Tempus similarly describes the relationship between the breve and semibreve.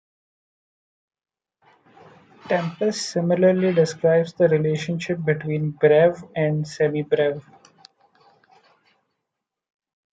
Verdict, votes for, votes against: rejected, 0, 2